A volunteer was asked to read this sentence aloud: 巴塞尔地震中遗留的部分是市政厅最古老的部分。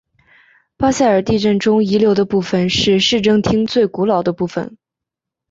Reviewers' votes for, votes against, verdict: 5, 0, accepted